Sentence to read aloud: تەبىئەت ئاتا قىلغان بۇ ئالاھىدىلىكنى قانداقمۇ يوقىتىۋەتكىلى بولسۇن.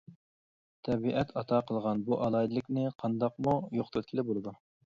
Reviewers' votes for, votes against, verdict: 1, 2, rejected